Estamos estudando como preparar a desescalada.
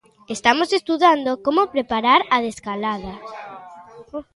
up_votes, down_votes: 0, 2